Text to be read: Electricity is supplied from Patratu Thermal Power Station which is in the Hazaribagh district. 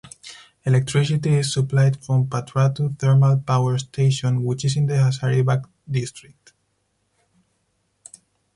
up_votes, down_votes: 4, 2